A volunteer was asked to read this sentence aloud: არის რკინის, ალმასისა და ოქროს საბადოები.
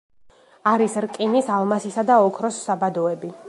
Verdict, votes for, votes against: accepted, 2, 0